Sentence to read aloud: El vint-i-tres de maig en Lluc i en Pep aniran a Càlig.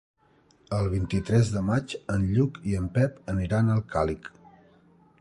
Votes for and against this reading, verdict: 0, 3, rejected